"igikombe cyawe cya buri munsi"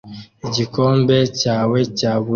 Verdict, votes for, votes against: rejected, 0, 2